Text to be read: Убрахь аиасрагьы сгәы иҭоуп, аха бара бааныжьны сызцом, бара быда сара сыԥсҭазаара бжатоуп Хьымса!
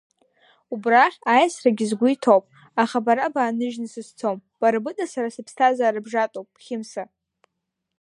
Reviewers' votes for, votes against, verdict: 1, 2, rejected